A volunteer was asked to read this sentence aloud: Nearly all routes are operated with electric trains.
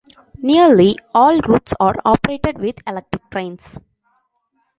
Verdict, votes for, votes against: accepted, 3, 2